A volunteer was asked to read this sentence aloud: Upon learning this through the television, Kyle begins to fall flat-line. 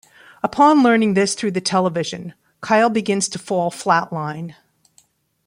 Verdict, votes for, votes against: accepted, 2, 0